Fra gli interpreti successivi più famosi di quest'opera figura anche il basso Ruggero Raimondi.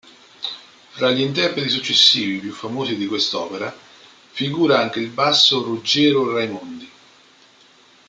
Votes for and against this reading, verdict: 2, 0, accepted